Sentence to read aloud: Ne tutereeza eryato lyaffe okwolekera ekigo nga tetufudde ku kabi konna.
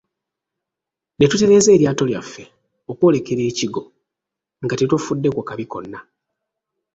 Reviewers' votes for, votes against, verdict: 1, 2, rejected